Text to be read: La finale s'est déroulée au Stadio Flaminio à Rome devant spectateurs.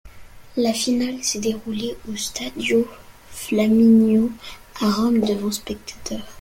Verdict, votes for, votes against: accepted, 2, 0